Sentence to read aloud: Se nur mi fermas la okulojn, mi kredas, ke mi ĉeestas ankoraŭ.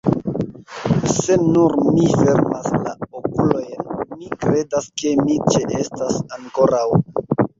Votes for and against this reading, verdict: 0, 2, rejected